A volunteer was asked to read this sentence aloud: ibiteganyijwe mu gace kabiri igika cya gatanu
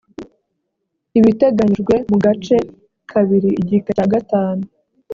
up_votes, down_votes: 2, 0